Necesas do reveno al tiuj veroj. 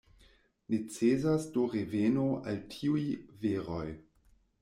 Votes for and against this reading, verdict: 1, 2, rejected